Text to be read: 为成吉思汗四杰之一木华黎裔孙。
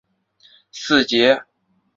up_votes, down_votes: 0, 2